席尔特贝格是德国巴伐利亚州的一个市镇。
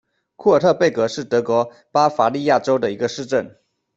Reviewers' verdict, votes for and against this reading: rejected, 1, 2